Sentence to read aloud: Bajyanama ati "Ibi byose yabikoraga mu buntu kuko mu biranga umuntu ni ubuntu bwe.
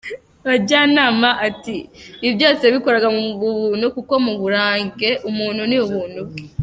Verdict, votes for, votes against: rejected, 0, 2